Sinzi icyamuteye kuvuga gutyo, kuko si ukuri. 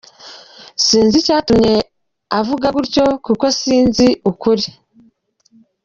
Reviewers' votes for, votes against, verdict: 0, 2, rejected